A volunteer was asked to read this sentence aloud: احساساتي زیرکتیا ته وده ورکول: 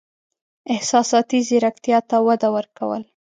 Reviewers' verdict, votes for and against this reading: accepted, 2, 0